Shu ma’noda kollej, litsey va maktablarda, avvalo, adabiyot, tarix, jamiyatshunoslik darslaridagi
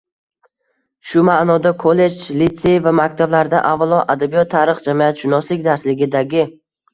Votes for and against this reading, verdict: 1, 2, rejected